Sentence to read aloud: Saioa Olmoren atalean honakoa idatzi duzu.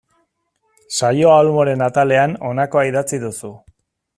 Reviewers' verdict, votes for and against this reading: accepted, 2, 0